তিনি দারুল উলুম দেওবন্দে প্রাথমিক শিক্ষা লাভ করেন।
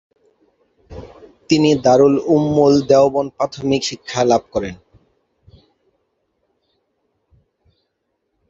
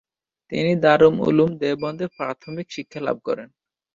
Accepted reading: second